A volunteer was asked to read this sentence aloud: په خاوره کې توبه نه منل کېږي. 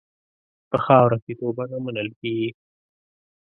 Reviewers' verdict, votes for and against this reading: accepted, 2, 0